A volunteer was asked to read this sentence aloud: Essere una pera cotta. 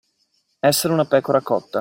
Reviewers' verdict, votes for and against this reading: rejected, 0, 2